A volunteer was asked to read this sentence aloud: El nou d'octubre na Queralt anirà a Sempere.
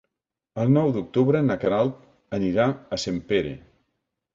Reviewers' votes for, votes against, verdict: 2, 0, accepted